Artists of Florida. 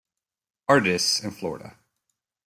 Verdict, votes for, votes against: rejected, 0, 2